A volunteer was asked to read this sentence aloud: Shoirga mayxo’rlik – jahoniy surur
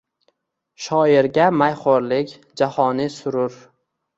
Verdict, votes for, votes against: accepted, 2, 0